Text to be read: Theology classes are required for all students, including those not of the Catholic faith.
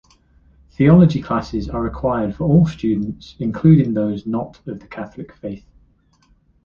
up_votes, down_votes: 2, 1